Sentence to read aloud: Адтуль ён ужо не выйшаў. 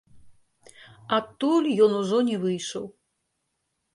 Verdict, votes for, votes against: rejected, 1, 2